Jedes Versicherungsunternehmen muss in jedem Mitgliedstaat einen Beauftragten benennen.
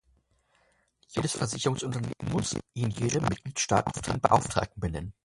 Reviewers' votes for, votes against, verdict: 0, 2, rejected